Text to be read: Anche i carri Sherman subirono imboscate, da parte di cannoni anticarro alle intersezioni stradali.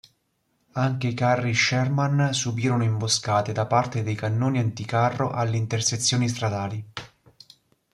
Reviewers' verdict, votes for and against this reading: rejected, 1, 2